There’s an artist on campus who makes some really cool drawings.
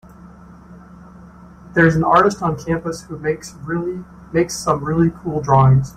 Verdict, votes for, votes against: rejected, 0, 2